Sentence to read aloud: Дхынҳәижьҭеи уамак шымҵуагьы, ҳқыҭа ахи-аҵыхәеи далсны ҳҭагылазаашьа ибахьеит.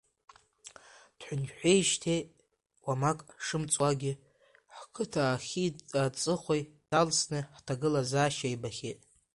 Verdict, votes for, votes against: rejected, 0, 2